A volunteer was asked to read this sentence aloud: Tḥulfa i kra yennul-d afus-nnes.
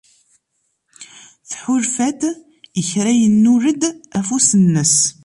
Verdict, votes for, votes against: rejected, 0, 2